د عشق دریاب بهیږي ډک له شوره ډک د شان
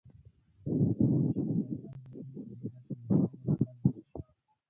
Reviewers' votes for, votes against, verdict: 0, 2, rejected